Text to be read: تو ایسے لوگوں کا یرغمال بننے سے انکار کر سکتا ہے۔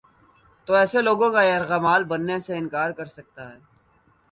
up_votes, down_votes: 2, 1